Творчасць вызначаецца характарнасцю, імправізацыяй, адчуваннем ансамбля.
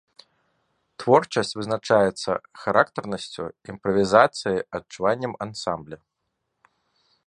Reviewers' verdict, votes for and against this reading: accepted, 2, 1